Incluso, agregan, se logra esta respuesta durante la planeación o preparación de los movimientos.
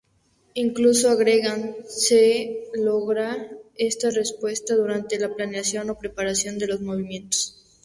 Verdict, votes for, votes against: accepted, 4, 0